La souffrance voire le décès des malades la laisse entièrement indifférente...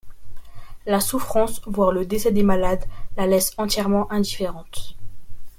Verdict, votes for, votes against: accepted, 2, 0